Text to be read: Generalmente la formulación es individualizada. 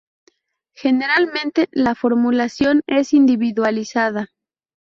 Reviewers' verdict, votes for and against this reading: accepted, 2, 0